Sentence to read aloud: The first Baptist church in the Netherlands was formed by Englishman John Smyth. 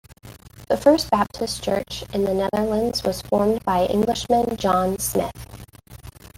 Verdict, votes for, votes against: accepted, 2, 1